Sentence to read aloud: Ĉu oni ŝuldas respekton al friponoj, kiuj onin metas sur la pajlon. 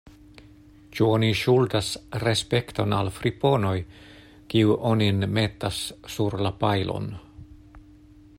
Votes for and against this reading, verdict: 2, 0, accepted